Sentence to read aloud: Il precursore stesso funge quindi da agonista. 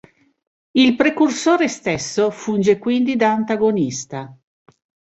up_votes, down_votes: 0, 2